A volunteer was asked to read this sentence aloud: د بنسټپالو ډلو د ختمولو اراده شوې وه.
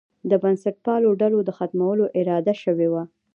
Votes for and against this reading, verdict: 0, 2, rejected